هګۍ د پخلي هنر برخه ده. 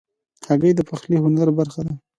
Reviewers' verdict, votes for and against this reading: accepted, 2, 0